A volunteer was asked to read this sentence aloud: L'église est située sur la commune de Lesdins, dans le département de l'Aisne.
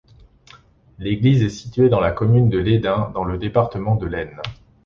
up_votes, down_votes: 1, 2